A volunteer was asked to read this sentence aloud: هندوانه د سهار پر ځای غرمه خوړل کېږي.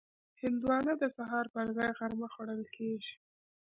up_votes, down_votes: 2, 1